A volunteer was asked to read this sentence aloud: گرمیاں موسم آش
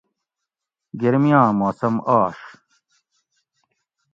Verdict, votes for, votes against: accepted, 2, 0